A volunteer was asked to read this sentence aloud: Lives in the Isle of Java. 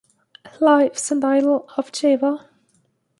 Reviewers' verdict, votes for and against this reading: rejected, 1, 2